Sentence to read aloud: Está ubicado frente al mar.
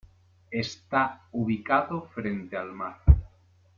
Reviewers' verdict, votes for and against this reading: accepted, 2, 0